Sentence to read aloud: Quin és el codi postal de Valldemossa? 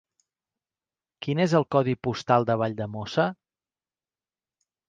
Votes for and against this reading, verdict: 3, 0, accepted